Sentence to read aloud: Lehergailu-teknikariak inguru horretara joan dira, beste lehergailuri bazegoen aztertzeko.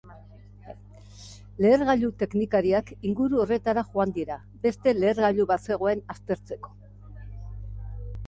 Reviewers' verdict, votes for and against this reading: rejected, 1, 2